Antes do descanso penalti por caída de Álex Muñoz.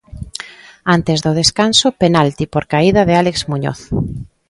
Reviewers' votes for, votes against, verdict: 2, 0, accepted